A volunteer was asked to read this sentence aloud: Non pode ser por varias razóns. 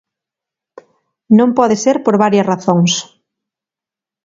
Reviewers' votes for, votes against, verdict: 2, 0, accepted